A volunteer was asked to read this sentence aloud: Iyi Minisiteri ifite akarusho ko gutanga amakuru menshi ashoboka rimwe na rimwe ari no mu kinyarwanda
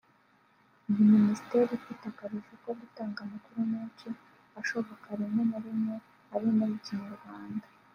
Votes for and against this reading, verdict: 2, 0, accepted